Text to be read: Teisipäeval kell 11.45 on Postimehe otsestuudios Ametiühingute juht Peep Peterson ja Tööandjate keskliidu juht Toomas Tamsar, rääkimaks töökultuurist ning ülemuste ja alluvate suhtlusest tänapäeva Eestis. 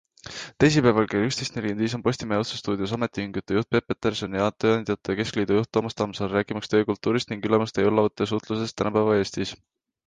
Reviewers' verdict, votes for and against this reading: rejected, 0, 2